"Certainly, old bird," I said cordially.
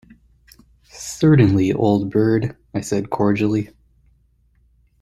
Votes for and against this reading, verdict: 2, 0, accepted